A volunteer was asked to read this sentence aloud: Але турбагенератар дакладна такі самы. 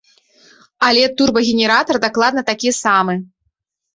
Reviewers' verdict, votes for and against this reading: accepted, 3, 0